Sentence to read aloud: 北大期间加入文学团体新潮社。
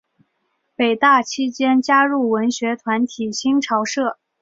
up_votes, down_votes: 2, 0